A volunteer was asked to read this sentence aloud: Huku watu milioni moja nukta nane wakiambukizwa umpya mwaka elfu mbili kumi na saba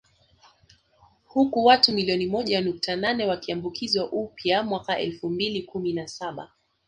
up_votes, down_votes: 1, 2